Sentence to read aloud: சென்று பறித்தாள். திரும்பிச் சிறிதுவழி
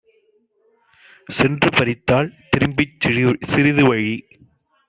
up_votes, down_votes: 0, 2